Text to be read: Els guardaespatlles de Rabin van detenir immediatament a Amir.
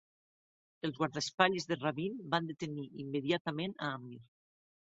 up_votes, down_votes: 2, 0